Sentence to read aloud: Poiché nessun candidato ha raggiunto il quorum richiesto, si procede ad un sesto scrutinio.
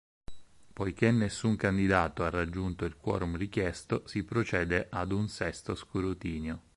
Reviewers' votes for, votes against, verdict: 4, 0, accepted